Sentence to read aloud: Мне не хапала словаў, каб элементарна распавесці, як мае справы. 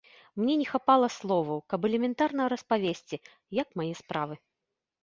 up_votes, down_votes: 2, 0